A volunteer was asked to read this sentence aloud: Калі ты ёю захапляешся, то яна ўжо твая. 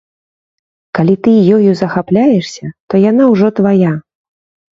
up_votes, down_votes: 0, 2